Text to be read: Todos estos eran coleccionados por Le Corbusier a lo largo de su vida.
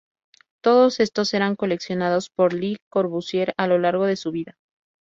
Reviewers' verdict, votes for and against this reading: accepted, 2, 0